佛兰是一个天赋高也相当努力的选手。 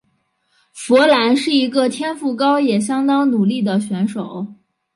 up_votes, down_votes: 2, 0